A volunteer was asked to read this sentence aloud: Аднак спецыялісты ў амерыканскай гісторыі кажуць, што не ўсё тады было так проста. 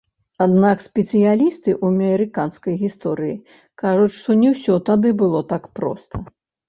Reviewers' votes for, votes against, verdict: 1, 2, rejected